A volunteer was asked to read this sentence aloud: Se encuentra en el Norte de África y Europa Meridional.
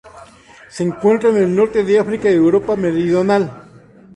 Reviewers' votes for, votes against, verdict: 0, 2, rejected